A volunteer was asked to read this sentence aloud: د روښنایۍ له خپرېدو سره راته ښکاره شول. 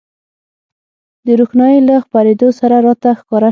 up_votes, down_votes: 0, 6